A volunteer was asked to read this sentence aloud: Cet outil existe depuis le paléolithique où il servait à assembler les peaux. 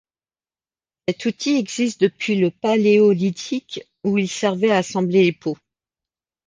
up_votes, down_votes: 1, 2